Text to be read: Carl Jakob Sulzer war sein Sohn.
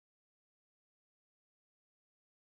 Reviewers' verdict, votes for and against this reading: rejected, 0, 2